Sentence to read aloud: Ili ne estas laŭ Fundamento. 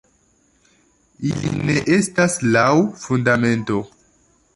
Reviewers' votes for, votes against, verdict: 0, 2, rejected